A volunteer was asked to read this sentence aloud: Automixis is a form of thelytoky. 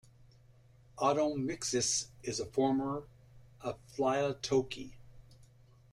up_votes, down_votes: 1, 2